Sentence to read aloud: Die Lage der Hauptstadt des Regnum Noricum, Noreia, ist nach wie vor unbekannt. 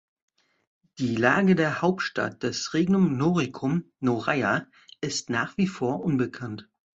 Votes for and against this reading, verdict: 2, 0, accepted